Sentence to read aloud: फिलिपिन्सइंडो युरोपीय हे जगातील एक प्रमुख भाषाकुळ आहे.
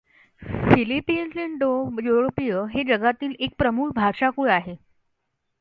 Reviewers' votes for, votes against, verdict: 2, 0, accepted